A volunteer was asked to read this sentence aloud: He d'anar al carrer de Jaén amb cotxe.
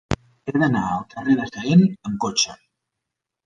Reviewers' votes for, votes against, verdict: 1, 2, rejected